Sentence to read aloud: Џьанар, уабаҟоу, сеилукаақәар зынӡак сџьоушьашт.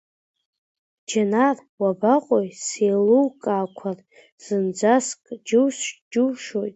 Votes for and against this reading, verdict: 0, 2, rejected